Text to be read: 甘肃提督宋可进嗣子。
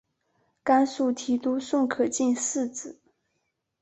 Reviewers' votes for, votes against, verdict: 4, 0, accepted